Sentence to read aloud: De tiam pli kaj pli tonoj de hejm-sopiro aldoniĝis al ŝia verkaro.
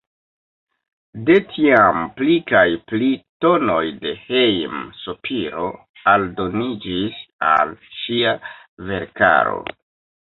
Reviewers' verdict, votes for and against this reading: rejected, 0, 2